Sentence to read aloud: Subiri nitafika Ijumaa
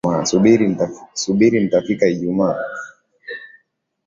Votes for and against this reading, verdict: 2, 2, rejected